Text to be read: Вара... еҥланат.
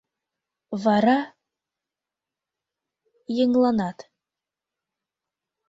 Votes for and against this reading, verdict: 2, 0, accepted